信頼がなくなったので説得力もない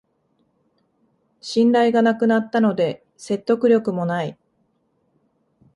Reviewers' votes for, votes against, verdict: 2, 0, accepted